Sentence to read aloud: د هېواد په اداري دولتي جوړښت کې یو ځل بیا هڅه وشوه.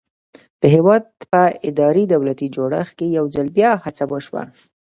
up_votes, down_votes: 1, 2